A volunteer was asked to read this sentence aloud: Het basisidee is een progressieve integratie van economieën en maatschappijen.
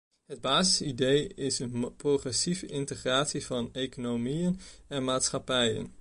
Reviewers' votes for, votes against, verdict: 0, 2, rejected